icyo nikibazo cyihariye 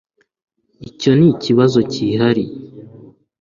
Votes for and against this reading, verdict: 2, 0, accepted